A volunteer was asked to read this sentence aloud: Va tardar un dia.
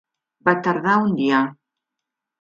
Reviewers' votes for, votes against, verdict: 3, 0, accepted